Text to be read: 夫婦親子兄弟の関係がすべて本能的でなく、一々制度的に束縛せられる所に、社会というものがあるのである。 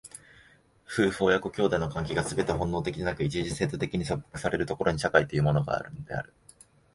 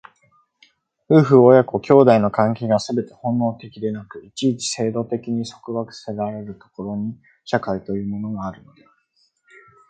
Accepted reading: second